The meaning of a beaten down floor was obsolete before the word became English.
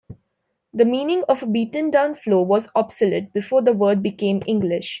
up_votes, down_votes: 1, 2